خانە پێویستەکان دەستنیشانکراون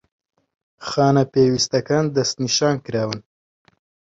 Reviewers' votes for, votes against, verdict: 2, 1, accepted